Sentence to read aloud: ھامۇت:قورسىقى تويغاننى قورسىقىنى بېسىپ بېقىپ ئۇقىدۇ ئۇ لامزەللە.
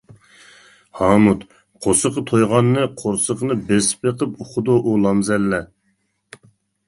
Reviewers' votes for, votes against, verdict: 2, 0, accepted